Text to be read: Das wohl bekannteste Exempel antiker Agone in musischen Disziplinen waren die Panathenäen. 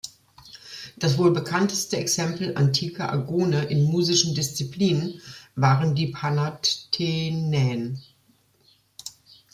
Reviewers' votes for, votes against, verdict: 1, 2, rejected